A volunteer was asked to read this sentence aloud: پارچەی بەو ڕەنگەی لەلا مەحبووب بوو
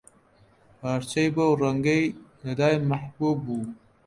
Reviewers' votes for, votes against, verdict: 1, 2, rejected